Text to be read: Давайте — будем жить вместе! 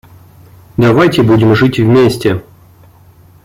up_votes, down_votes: 1, 2